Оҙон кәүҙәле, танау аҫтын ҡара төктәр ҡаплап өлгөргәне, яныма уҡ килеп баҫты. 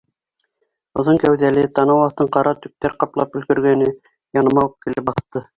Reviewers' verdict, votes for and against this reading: accepted, 2, 0